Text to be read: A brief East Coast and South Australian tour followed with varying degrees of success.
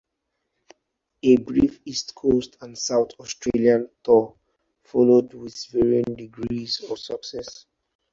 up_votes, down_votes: 2, 2